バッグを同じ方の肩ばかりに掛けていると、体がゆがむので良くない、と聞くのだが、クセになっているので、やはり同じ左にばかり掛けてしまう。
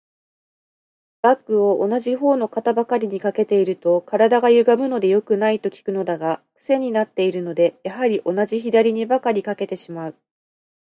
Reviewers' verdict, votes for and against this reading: accepted, 2, 0